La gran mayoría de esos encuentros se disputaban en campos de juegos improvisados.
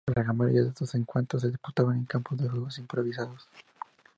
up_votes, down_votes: 0, 2